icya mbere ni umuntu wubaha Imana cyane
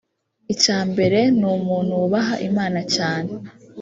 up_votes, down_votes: 2, 3